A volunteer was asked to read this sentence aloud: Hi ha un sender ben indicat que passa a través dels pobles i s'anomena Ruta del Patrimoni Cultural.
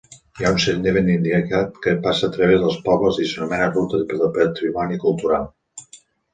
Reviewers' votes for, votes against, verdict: 1, 2, rejected